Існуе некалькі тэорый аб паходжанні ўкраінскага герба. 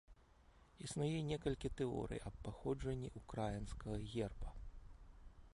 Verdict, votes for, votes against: rejected, 0, 2